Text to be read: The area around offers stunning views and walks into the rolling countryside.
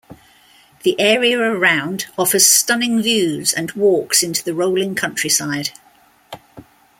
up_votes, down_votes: 2, 0